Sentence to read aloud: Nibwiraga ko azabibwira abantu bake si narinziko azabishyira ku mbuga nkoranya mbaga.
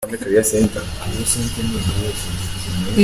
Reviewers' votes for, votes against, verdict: 0, 2, rejected